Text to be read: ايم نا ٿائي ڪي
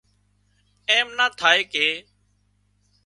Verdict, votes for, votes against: accepted, 3, 0